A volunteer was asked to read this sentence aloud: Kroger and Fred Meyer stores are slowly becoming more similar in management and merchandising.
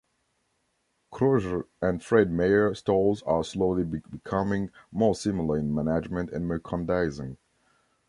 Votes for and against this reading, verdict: 0, 2, rejected